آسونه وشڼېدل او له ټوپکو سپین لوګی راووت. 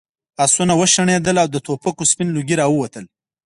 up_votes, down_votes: 4, 2